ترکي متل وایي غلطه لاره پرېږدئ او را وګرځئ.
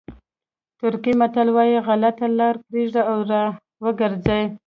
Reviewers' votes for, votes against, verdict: 2, 0, accepted